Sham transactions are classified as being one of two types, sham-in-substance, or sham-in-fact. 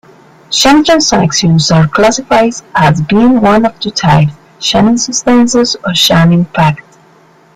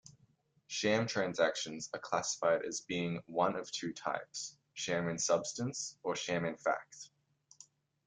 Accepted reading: second